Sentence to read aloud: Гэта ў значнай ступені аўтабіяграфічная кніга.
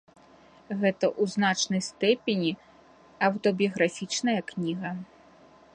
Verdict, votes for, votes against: rejected, 0, 2